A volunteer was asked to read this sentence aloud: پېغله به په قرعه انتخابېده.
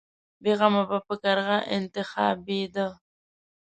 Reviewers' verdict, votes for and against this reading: rejected, 1, 2